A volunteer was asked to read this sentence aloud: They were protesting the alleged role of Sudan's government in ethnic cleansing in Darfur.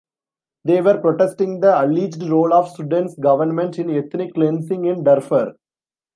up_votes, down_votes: 2, 0